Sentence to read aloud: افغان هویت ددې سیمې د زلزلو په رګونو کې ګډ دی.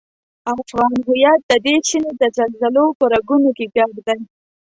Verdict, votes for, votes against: rejected, 1, 2